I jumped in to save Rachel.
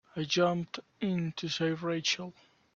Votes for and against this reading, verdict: 2, 1, accepted